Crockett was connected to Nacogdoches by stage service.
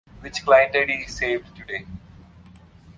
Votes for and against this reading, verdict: 0, 2, rejected